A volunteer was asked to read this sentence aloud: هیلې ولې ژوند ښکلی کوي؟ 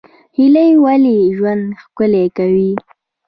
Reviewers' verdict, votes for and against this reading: rejected, 1, 2